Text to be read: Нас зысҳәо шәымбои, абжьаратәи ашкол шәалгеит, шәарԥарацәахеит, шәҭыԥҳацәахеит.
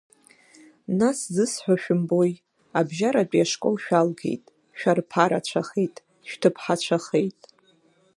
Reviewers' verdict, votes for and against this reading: rejected, 0, 2